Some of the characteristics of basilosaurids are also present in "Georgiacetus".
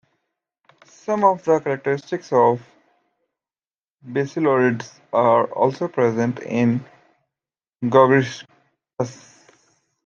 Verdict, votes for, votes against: rejected, 1, 2